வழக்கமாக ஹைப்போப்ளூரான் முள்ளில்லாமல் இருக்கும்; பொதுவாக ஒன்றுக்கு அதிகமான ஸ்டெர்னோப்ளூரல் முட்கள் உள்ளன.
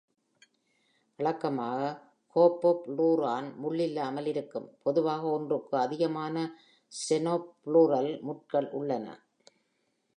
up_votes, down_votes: 0, 2